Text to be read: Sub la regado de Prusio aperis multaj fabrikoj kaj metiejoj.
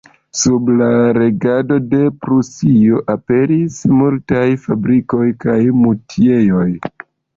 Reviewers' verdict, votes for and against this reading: rejected, 1, 2